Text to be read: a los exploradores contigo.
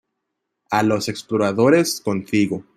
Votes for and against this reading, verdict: 2, 0, accepted